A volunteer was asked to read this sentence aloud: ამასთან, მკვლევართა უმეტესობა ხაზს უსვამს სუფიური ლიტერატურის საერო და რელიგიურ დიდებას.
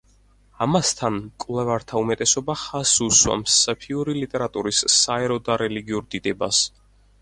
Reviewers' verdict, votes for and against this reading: rejected, 0, 4